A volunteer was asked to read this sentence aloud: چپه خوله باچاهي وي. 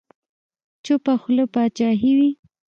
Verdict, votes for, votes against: rejected, 1, 2